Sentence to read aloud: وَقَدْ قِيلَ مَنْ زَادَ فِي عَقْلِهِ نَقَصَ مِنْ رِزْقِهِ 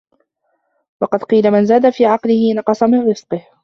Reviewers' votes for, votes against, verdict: 2, 0, accepted